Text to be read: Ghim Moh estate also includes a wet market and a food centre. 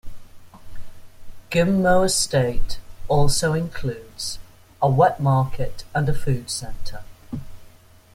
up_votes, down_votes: 2, 0